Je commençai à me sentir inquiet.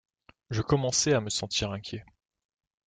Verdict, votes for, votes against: accepted, 2, 0